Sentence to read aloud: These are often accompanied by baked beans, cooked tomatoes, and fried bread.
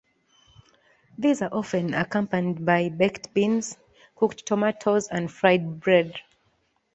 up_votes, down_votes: 2, 1